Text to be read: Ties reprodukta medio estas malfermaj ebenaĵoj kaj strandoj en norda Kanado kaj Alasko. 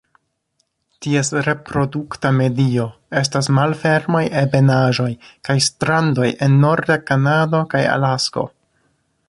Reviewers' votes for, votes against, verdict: 2, 0, accepted